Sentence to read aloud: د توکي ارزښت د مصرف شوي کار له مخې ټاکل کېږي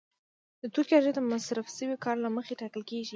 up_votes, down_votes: 2, 0